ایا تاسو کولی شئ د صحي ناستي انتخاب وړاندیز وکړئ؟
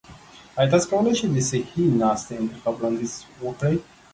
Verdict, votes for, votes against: rejected, 1, 2